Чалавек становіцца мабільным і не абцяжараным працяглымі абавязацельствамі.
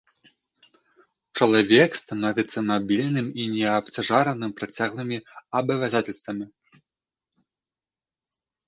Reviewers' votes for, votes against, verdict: 1, 2, rejected